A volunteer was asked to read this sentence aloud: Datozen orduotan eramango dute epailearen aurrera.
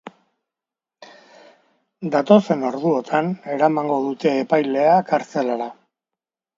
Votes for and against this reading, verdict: 0, 2, rejected